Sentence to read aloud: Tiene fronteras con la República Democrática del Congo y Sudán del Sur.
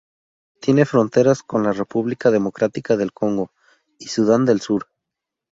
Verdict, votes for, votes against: accepted, 2, 0